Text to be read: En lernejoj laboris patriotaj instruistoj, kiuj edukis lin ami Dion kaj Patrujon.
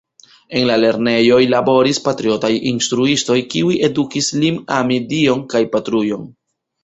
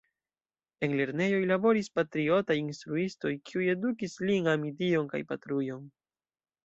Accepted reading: second